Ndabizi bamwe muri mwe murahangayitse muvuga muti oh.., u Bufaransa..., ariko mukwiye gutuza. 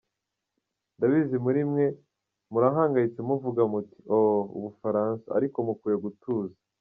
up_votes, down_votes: 2, 0